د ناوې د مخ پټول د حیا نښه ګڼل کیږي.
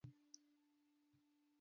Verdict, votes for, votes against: rejected, 0, 2